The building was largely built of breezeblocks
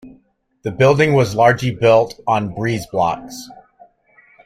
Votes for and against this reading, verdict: 0, 2, rejected